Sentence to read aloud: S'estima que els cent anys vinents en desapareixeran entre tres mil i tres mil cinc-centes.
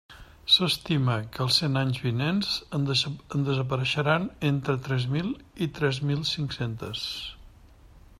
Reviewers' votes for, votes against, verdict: 1, 2, rejected